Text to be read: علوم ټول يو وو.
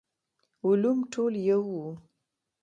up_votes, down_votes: 1, 2